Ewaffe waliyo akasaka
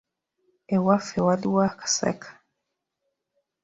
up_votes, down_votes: 0, 2